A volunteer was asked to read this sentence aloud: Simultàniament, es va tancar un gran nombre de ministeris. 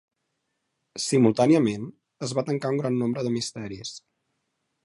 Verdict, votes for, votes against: rejected, 0, 2